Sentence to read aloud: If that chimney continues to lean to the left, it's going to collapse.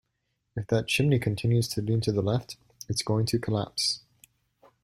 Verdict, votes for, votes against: accepted, 2, 0